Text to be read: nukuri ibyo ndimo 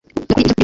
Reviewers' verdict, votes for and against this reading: rejected, 0, 2